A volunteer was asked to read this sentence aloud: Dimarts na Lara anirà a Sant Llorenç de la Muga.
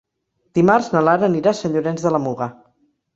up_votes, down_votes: 0, 2